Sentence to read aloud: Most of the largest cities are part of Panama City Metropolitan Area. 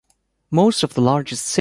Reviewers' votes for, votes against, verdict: 0, 2, rejected